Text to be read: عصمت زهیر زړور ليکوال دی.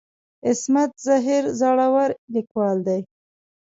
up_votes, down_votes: 2, 0